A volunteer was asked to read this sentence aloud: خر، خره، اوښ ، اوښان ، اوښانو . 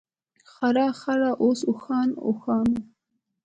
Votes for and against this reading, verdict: 2, 0, accepted